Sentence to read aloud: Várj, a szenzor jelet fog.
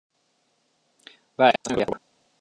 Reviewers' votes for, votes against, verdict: 0, 2, rejected